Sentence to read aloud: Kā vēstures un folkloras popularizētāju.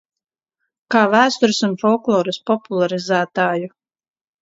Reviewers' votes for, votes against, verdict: 2, 0, accepted